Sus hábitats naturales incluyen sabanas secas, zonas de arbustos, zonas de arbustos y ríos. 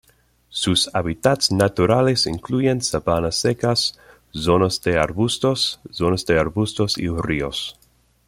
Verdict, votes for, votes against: accepted, 2, 1